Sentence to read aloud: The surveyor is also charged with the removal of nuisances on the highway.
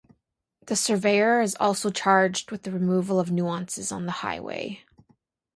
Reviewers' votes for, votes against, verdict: 2, 0, accepted